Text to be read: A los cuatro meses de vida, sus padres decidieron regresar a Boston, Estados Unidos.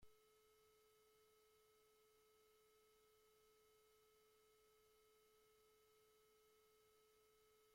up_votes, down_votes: 0, 2